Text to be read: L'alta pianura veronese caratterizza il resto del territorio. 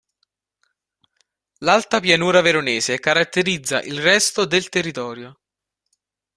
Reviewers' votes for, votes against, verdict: 3, 0, accepted